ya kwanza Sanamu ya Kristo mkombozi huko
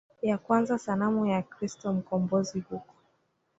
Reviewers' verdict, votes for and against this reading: rejected, 1, 2